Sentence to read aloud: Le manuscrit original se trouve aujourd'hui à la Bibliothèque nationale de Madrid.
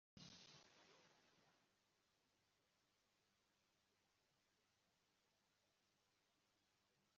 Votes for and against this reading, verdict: 0, 2, rejected